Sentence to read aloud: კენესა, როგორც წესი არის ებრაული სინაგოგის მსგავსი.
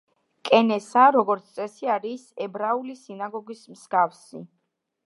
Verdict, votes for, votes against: accepted, 2, 0